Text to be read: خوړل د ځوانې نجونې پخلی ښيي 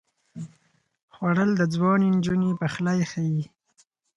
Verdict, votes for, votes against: accepted, 4, 0